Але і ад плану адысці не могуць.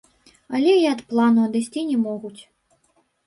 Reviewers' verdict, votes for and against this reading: rejected, 2, 3